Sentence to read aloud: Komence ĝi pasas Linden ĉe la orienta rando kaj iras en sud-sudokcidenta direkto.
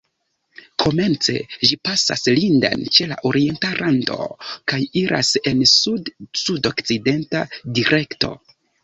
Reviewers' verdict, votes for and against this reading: accepted, 2, 0